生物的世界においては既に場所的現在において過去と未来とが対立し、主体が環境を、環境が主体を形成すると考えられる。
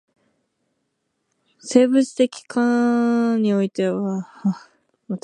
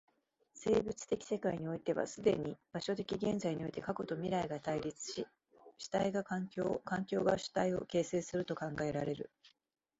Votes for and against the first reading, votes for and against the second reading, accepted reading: 0, 2, 7, 0, second